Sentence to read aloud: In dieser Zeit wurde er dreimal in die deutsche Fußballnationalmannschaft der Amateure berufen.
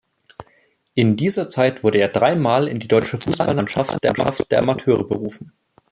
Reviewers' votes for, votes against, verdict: 0, 2, rejected